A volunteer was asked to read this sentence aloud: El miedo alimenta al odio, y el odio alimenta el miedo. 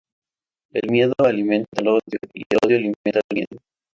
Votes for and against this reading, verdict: 4, 0, accepted